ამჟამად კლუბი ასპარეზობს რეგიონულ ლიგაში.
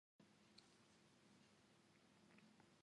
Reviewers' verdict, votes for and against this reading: rejected, 1, 2